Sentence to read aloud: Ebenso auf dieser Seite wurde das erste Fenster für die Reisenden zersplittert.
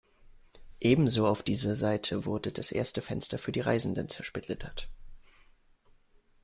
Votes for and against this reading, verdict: 2, 0, accepted